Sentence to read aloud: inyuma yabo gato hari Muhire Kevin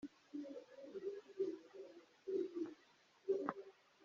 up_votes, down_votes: 0, 2